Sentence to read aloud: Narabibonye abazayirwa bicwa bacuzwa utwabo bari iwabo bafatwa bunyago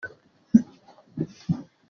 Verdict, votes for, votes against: rejected, 0, 2